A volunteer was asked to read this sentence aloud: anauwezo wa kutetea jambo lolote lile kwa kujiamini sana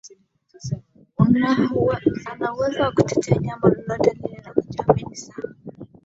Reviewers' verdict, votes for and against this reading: rejected, 0, 2